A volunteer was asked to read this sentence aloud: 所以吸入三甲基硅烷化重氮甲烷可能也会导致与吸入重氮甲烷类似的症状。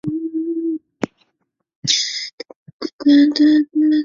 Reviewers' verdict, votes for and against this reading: rejected, 0, 2